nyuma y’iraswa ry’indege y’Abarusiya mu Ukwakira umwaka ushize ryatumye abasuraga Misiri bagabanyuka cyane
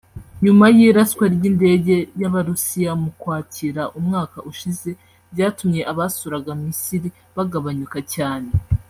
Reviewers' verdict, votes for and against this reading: rejected, 1, 2